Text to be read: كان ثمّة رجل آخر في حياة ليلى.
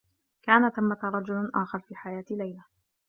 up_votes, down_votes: 2, 0